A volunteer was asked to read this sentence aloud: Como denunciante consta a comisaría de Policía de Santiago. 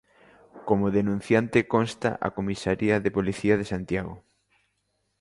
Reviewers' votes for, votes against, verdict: 3, 0, accepted